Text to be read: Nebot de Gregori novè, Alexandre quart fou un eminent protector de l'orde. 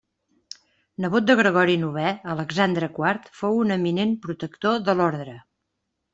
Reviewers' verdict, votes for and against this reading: accepted, 2, 0